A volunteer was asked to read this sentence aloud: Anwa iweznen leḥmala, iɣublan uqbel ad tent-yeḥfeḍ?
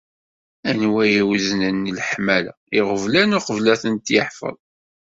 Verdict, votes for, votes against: accepted, 2, 0